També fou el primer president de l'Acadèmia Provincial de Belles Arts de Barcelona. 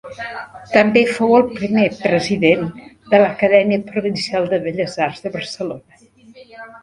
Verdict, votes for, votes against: rejected, 1, 2